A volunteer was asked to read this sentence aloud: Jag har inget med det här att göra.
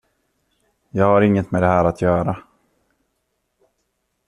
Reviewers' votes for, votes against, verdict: 2, 0, accepted